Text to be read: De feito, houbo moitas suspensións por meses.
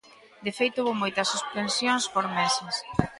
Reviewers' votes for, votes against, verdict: 2, 1, accepted